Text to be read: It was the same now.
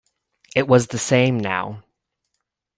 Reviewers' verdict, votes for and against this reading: accepted, 2, 0